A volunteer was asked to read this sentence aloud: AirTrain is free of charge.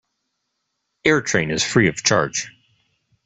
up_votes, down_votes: 2, 0